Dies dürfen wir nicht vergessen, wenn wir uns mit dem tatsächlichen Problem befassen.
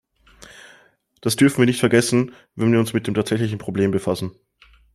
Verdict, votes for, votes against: rejected, 0, 3